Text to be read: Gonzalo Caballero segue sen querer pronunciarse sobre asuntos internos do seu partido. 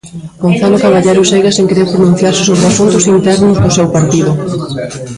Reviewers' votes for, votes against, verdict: 0, 2, rejected